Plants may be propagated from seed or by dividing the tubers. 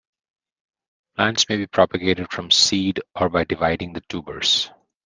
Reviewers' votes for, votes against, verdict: 1, 2, rejected